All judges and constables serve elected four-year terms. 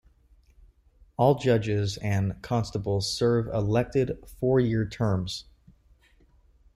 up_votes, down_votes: 2, 0